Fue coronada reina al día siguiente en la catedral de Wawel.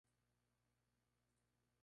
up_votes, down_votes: 0, 4